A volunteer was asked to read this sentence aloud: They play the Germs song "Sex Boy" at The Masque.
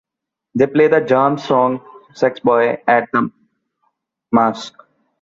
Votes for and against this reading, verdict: 2, 0, accepted